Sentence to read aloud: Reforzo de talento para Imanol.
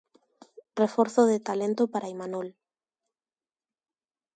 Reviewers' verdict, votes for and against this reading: accepted, 2, 1